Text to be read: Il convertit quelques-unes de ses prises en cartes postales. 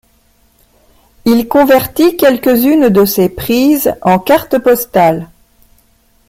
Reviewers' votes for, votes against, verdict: 2, 0, accepted